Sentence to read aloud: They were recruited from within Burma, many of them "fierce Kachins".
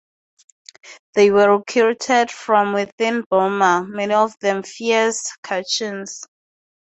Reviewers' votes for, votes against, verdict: 2, 0, accepted